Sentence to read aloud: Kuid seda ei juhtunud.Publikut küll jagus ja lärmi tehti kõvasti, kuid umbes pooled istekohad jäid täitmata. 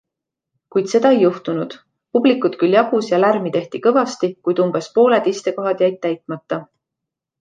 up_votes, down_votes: 2, 1